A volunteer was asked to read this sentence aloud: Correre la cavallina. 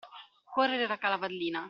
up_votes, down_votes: 0, 2